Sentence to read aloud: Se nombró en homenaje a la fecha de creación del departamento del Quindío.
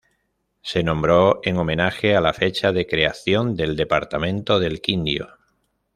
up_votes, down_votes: 1, 2